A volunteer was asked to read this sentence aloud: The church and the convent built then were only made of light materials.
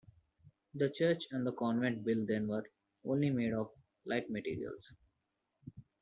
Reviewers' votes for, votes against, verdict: 2, 0, accepted